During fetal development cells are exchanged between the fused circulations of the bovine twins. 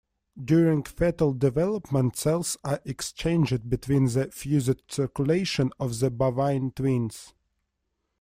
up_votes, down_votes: 0, 2